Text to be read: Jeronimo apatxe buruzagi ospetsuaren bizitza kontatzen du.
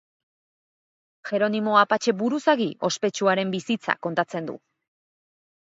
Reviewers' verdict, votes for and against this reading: accepted, 4, 0